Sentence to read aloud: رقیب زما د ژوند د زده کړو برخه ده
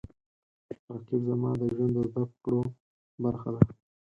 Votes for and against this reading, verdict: 2, 4, rejected